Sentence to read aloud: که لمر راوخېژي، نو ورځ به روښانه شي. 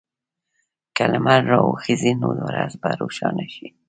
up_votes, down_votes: 2, 0